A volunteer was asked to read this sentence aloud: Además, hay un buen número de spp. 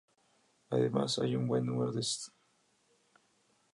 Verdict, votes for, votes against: rejected, 0, 2